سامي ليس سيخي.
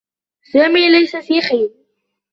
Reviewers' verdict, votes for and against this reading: accepted, 2, 0